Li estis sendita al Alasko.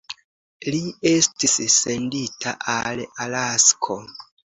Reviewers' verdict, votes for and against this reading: accepted, 2, 0